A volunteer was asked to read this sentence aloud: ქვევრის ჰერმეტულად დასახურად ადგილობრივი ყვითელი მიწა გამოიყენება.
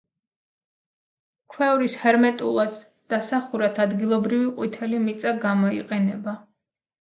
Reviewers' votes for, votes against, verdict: 2, 0, accepted